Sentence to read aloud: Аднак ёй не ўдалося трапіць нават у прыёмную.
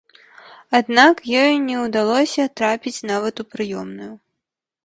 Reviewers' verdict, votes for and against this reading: accepted, 2, 0